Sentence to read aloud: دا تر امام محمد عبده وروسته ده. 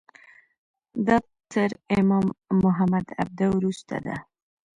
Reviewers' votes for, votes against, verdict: 1, 2, rejected